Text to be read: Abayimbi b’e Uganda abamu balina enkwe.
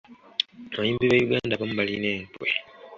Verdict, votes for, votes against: accepted, 2, 0